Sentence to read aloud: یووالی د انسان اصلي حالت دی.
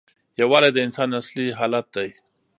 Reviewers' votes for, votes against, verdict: 2, 0, accepted